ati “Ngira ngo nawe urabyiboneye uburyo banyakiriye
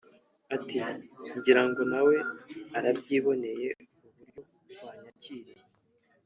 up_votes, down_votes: 1, 2